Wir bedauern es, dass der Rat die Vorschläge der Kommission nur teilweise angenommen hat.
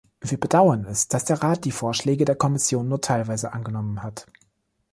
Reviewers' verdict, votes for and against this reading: accepted, 2, 0